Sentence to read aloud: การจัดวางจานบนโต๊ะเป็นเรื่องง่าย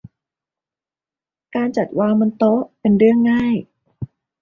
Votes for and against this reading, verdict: 0, 2, rejected